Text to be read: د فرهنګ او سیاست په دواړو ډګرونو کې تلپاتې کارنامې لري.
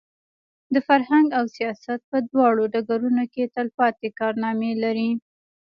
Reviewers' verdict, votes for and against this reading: rejected, 1, 2